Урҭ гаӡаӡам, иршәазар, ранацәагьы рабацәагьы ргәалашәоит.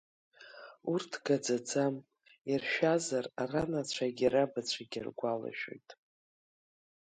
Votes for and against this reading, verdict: 3, 1, accepted